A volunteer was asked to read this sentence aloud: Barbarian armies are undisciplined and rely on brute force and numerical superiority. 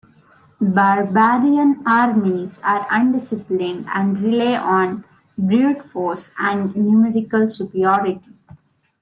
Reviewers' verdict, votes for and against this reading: accepted, 2, 0